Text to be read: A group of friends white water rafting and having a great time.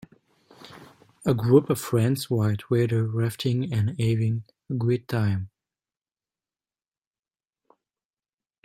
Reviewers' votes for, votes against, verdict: 1, 2, rejected